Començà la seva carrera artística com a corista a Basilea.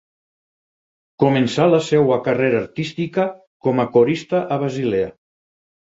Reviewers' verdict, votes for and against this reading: rejected, 0, 4